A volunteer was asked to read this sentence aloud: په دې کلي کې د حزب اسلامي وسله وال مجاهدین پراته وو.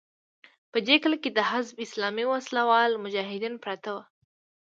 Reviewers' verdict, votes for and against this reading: rejected, 1, 2